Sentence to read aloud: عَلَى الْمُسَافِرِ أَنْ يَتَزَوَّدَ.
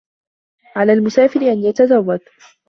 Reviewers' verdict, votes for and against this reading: accepted, 2, 0